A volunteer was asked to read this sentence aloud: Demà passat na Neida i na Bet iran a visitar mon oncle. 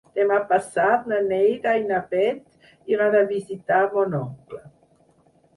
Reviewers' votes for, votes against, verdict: 4, 2, accepted